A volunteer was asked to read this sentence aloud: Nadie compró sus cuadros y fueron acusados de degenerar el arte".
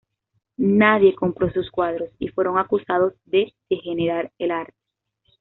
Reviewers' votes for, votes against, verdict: 2, 0, accepted